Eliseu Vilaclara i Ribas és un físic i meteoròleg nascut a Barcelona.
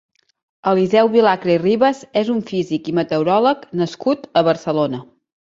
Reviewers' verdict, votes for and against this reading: rejected, 0, 2